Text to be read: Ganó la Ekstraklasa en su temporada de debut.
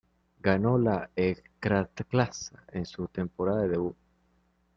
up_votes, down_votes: 2, 3